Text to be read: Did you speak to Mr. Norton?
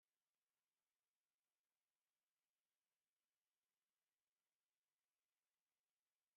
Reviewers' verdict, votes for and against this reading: rejected, 0, 2